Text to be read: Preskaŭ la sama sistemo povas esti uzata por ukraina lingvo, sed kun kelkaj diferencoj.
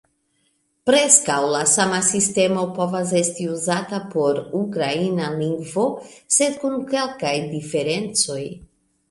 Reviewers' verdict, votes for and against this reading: accepted, 2, 1